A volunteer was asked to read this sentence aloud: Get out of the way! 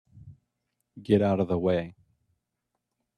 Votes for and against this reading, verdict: 3, 0, accepted